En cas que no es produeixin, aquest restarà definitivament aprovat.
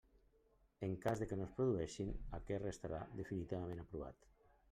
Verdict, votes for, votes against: rejected, 1, 2